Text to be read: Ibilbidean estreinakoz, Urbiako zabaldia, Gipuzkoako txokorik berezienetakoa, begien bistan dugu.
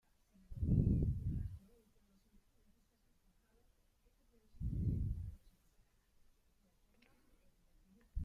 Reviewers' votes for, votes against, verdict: 0, 2, rejected